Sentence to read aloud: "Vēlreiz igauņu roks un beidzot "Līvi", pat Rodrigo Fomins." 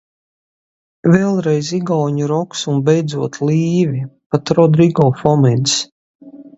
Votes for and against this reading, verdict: 2, 0, accepted